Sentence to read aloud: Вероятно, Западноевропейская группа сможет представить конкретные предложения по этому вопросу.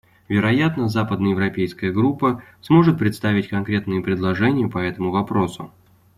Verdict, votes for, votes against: accepted, 2, 0